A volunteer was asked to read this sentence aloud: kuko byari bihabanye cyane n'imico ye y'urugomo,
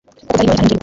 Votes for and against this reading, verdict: 0, 2, rejected